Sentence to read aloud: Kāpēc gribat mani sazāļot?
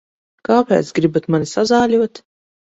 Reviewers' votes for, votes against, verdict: 4, 0, accepted